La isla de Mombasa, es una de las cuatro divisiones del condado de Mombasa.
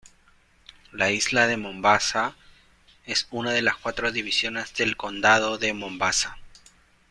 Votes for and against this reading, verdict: 1, 2, rejected